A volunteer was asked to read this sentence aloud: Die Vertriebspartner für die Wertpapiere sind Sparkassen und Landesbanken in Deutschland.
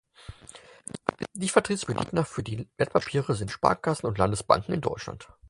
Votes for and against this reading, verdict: 0, 4, rejected